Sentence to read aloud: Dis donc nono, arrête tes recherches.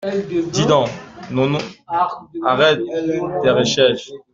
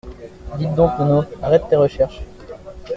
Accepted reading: first